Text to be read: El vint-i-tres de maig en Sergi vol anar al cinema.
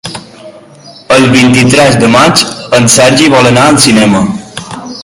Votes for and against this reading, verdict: 4, 1, accepted